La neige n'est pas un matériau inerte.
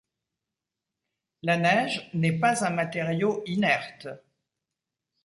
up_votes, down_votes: 2, 0